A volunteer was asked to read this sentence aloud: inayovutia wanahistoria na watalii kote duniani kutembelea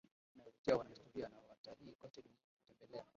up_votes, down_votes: 0, 2